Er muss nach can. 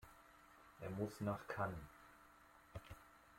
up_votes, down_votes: 0, 2